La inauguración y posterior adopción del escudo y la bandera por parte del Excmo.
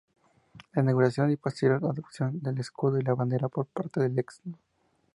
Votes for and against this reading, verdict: 0, 2, rejected